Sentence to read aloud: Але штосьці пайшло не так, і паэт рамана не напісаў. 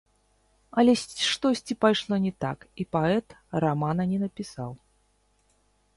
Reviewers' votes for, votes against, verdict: 0, 3, rejected